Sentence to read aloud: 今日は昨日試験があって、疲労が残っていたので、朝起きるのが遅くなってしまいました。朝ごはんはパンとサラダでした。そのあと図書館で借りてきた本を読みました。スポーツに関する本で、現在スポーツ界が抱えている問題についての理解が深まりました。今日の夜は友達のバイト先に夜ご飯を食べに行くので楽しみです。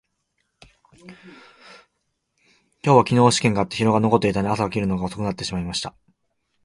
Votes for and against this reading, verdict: 0, 2, rejected